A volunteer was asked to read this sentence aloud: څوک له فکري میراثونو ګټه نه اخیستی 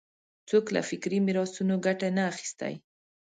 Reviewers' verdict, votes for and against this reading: accepted, 2, 0